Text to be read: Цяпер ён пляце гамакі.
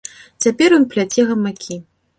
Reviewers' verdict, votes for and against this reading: accepted, 2, 0